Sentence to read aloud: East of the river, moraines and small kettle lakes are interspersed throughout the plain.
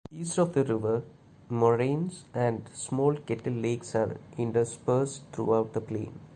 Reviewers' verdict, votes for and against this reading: accepted, 2, 0